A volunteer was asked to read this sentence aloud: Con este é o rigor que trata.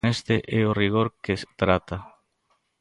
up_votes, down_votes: 0, 3